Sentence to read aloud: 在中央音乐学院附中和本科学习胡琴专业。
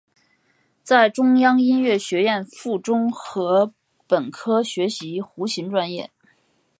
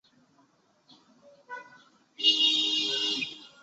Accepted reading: first